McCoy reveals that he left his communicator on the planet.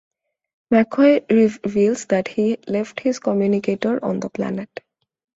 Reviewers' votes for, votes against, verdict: 2, 0, accepted